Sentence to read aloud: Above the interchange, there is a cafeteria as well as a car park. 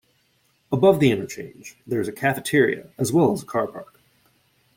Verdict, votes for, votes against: accepted, 2, 0